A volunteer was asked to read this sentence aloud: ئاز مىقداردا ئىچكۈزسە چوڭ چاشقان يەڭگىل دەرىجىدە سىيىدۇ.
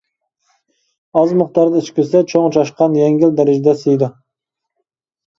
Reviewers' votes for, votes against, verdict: 2, 0, accepted